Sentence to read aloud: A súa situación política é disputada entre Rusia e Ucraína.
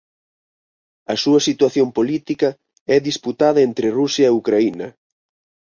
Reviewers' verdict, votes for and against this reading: accepted, 4, 0